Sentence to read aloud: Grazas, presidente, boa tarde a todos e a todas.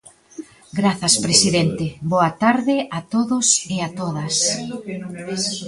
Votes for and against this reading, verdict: 0, 2, rejected